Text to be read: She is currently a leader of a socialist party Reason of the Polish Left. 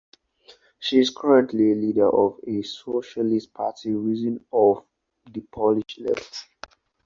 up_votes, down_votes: 4, 0